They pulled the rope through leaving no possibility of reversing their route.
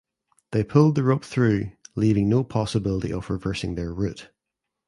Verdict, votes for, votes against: accepted, 2, 0